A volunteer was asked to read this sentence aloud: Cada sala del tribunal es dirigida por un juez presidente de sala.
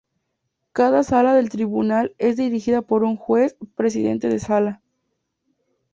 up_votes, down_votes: 2, 0